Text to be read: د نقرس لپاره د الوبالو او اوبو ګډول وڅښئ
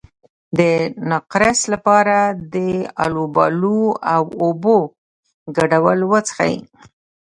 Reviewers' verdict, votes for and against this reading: rejected, 0, 2